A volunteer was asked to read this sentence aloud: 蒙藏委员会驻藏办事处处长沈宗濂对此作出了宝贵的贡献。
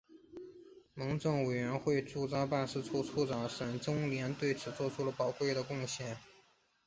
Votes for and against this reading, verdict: 2, 1, accepted